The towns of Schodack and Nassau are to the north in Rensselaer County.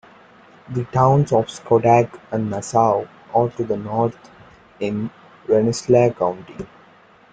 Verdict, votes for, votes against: accepted, 2, 1